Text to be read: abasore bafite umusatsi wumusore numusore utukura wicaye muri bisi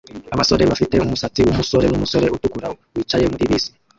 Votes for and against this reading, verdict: 2, 3, rejected